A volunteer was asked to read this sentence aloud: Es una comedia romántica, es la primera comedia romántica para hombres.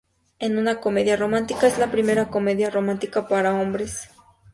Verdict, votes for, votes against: rejected, 0, 2